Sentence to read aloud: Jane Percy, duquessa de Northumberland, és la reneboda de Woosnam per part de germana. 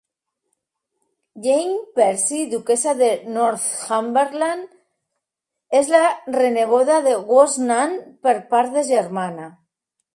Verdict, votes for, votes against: accepted, 2, 0